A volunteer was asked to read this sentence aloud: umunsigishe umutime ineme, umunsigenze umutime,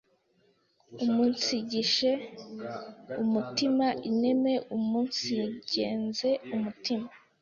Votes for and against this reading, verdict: 1, 2, rejected